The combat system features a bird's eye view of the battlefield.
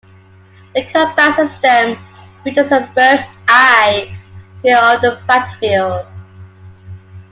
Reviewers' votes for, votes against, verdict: 2, 1, accepted